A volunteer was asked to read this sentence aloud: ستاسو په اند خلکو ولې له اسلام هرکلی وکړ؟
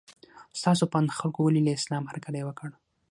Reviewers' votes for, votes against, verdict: 3, 6, rejected